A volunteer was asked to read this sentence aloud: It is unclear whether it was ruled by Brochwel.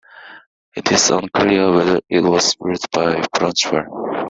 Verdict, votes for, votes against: accepted, 2, 0